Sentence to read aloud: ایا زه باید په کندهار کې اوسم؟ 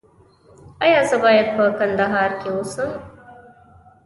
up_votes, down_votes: 2, 0